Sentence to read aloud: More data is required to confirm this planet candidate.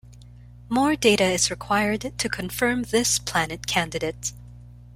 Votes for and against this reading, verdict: 2, 0, accepted